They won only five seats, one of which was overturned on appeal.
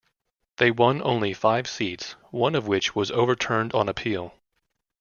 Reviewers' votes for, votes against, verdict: 2, 0, accepted